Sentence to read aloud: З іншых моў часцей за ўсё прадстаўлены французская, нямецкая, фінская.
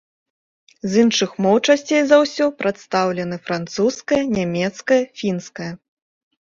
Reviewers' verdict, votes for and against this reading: accepted, 2, 0